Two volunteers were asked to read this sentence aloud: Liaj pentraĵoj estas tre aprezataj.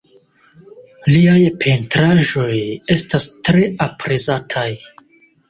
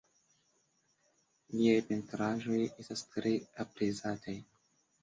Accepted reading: first